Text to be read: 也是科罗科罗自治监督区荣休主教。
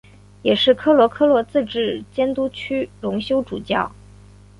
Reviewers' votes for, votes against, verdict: 2, 0, accepted